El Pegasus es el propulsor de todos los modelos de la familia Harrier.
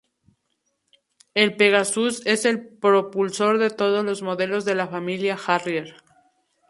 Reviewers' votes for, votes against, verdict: 2, 2, rejected